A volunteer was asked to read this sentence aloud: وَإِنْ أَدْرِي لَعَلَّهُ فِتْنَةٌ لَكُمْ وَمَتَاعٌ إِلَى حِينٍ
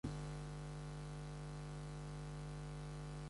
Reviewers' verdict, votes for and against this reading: rejected, 0, 2